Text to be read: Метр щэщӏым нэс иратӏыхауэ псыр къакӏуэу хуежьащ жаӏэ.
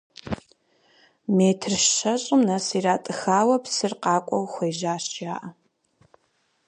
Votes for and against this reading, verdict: 4, 0, accepted